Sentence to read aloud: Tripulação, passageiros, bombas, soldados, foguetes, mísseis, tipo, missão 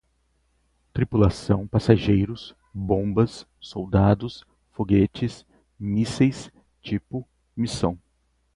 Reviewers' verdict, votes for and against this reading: accepted, 2, 0